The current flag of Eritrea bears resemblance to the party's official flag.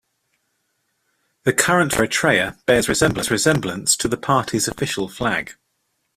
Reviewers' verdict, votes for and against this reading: rejected, 0, 2